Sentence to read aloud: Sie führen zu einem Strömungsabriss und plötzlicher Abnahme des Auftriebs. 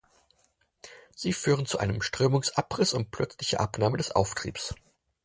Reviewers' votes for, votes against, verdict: 4, 2, accepted